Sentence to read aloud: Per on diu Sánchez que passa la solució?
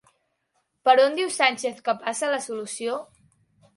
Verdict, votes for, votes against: accepted, 4, 0